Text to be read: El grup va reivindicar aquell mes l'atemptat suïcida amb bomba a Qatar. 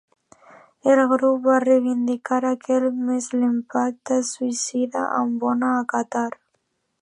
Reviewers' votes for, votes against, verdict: 0, 2, rejected